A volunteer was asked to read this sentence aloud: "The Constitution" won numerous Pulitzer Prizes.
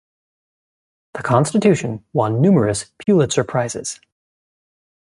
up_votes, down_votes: 2, 0